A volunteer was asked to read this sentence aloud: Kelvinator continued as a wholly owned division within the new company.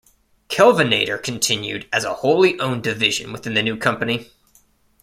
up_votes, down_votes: 2, 1